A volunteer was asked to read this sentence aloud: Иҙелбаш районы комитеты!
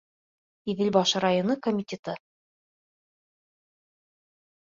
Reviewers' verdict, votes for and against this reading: accepted, 2, 0